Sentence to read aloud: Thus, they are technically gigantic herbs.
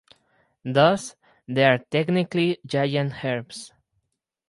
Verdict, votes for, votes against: rejected, 0, 4